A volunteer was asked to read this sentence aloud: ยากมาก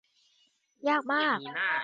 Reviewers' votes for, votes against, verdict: 0, 3, rejected